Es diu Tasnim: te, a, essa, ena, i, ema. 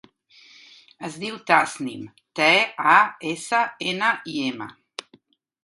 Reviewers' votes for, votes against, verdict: 1, 2, rejected